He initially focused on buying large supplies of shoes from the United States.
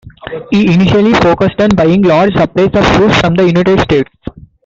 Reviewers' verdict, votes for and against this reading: rejected, 1, 2